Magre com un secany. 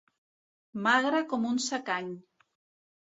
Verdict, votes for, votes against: accepted, 2, 0